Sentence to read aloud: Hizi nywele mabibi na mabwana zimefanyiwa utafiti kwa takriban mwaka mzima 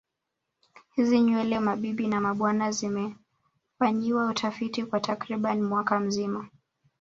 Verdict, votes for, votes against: accepted, 2, 0